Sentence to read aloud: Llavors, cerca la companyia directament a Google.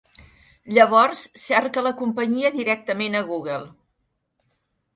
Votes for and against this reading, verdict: 3, 0, accepted